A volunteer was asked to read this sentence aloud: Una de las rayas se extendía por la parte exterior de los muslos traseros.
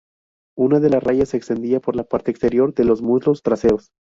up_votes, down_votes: 0, 2